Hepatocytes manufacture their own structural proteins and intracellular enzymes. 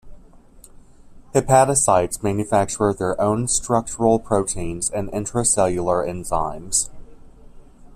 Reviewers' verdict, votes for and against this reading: accepted, 2, 0